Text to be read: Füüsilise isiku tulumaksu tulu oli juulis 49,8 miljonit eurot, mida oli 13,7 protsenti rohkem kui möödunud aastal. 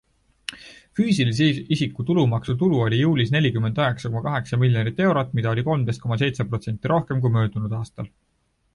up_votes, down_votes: 0, 2